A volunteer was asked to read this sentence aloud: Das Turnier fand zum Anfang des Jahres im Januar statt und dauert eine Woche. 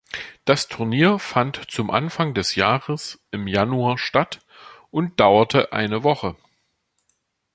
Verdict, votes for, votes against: rejected, 1, 2